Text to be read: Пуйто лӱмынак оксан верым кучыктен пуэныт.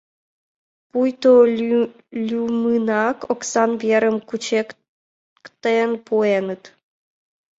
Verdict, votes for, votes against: rejected, 0, 2